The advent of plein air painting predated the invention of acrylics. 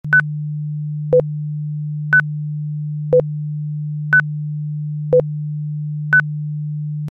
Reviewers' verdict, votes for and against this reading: rejected, 0, 2